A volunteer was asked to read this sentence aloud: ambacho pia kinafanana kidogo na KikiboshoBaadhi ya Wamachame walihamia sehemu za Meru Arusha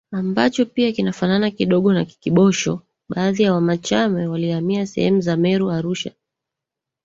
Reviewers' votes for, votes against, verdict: 1, 2, rejected